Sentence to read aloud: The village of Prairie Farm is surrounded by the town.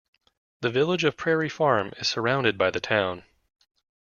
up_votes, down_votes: 2, 0